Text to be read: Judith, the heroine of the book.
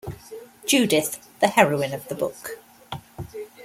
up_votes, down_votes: 2, 0